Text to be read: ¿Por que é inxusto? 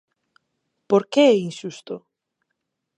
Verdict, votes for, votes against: accepted, 4, 0